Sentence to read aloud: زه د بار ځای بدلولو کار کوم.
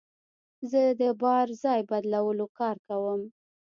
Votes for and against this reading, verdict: 2, 0, accepted